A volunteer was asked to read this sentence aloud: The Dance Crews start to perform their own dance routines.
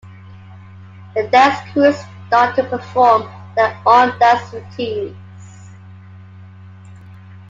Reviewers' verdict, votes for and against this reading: accepted, 2, 0